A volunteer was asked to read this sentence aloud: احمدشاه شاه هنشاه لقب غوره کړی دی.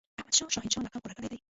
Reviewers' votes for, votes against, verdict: 0, 2, rejected